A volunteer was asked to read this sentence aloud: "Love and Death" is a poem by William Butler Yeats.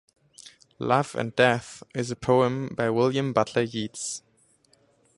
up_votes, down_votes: 0, 2